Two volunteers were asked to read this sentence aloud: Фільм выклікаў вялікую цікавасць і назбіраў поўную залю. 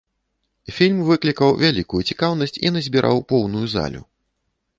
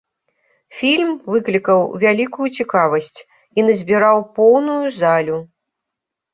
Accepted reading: second